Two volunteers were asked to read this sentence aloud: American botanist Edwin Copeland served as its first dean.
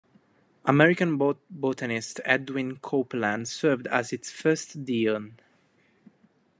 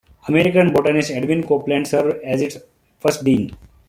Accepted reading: second